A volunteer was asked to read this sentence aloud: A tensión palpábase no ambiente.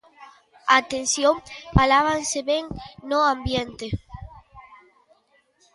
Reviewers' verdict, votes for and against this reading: rejected, 0, 2